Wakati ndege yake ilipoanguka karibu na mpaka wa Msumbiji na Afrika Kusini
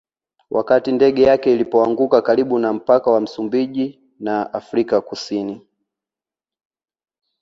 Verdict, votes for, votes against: rejected, 1, 2